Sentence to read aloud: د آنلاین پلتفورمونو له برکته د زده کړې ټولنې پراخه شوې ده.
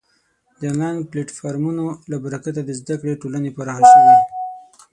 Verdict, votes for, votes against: rejected, 0, 6